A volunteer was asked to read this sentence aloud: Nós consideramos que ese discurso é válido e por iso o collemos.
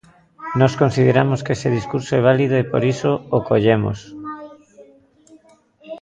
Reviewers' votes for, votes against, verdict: 0, 2, rejected